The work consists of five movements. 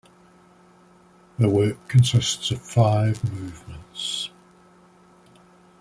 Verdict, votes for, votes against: accepted, 2, 0